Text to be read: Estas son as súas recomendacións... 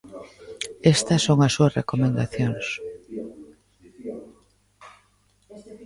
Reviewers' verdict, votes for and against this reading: rejected, 0, 2